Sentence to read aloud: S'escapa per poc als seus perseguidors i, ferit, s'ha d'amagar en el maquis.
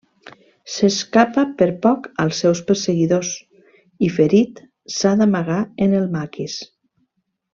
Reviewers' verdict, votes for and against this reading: accepted, 3, 0